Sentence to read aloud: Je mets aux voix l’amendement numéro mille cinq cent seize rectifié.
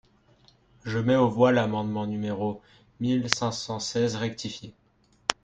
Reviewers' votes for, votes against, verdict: 4, 0, accepted